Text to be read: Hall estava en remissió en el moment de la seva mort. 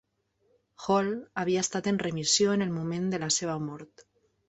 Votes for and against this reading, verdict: 0, 2, rejected